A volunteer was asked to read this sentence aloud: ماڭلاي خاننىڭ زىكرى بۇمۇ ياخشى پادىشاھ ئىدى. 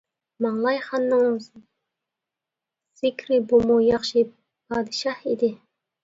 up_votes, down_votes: 1, 2